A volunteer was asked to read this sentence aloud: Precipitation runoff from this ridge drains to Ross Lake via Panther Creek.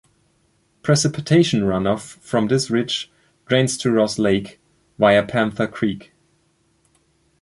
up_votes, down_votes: 2, 1